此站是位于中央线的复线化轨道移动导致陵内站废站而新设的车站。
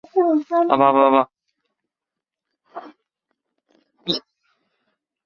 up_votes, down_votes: 0, 3